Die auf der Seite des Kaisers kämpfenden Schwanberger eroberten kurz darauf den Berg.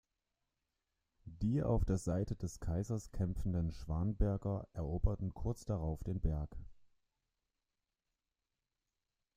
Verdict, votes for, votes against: rejected, 1, 2